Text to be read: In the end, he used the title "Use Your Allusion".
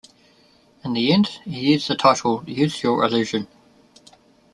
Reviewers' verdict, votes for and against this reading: accepted, 2, 0